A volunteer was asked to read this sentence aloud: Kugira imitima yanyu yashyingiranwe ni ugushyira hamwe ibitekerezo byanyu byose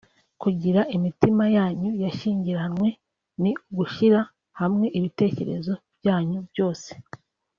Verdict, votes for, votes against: accepted, 4, 0